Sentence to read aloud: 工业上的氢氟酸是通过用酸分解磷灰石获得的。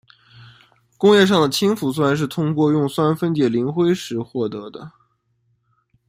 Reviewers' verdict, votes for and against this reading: accepted, 2, 0